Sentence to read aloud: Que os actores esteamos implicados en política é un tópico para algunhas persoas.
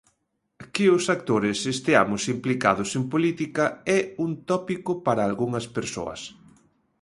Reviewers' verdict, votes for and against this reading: accepted, 2, 0